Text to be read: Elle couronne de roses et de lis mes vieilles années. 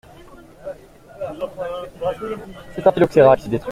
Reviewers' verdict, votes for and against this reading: rejected, 0, 2